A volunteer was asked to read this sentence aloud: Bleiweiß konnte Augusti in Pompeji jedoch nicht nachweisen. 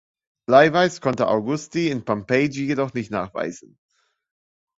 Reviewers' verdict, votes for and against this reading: accepted, 2, 0